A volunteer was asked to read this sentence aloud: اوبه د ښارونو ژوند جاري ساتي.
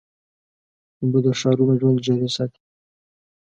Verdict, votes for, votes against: rejected, 0, 2